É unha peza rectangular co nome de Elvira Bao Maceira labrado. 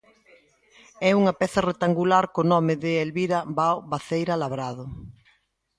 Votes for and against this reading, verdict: 2, 0, accepted